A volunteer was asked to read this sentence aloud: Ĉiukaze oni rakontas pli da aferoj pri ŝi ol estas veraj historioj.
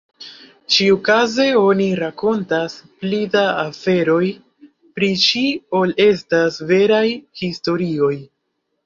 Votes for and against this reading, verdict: 2, 0, accepted